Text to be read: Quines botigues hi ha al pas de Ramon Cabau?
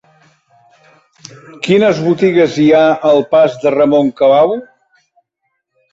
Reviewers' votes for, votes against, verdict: 3, 1, accepted